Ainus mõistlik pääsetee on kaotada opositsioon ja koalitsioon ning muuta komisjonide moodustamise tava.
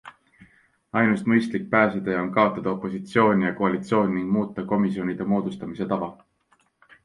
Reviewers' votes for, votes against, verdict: 2, 0, accepted